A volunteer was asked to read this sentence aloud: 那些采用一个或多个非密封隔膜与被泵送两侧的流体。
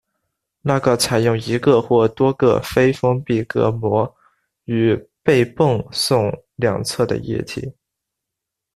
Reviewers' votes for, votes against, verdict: 0, 2, rejected